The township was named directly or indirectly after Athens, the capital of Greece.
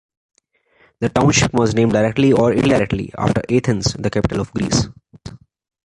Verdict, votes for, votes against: rejected, 0, 2